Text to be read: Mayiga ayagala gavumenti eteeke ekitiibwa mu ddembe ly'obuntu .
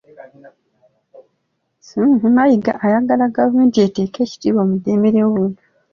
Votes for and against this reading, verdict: 2, 0, accepted